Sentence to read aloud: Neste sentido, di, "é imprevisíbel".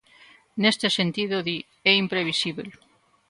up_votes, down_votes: 2, 0